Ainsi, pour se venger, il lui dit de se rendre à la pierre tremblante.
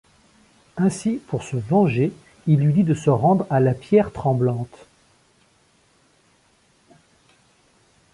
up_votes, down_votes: 2, 0